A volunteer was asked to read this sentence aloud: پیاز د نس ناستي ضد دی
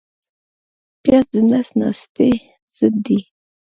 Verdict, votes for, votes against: rejected, 1, 2